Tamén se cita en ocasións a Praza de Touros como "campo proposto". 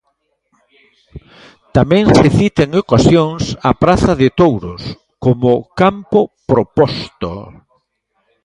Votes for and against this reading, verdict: 1, 2, rejected